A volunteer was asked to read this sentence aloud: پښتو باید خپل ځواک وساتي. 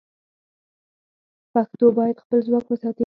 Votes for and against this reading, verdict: 4, 0, accepted